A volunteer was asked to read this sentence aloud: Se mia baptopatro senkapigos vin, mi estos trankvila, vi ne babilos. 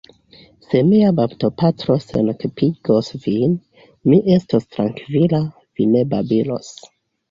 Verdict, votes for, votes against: accepted, 2, 1